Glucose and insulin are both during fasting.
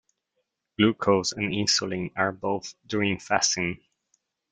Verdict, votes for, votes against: rejected, 1, 2